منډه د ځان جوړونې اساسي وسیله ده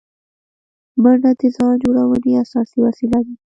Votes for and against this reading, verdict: 0, 2, rejected